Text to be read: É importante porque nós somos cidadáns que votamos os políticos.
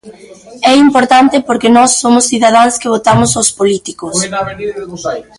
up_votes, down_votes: 0, 2